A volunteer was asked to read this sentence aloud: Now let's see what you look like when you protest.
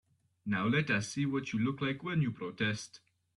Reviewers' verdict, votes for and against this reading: rejected, 0, 3